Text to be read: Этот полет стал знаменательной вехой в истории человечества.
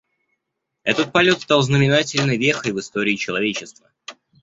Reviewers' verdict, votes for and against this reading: accepted, 2, 1